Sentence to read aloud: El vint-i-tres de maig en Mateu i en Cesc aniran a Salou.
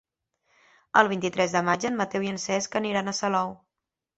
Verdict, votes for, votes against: accepted, 3, 0